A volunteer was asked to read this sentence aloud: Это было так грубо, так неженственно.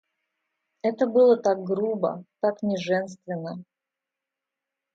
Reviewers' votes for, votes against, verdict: 2, 0, accepted